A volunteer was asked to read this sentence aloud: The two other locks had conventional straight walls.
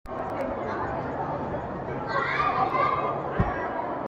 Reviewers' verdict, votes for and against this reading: rejected, 0, 2